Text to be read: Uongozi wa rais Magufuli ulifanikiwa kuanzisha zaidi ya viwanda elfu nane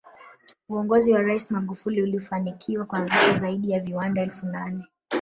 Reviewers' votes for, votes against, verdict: 1, 2, rejected